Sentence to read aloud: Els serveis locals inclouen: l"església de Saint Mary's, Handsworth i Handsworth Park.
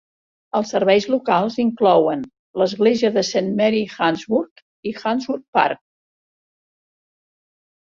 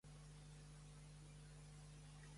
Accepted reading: first